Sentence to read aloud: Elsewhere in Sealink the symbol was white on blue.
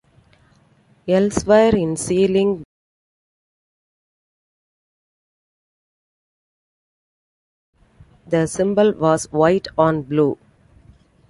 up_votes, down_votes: 0, 2